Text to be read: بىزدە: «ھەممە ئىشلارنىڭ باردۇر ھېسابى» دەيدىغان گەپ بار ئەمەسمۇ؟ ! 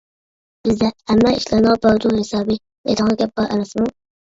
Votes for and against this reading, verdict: 0, 2, rejected